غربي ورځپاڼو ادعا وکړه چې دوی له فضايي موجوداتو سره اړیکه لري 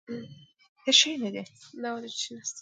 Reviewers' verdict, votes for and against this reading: rejected, 0, 2